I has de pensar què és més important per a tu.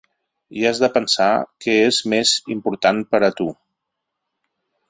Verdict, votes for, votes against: accepted, 3, 0